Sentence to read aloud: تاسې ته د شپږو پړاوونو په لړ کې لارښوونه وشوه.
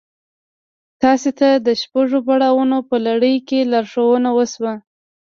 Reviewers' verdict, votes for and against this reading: rejected, 1, 2